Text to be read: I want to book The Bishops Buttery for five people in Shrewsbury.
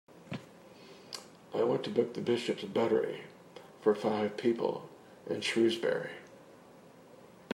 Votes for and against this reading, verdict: 2, 0, accepted